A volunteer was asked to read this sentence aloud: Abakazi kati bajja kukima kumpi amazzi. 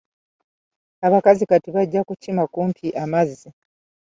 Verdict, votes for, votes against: rejected, 1, 2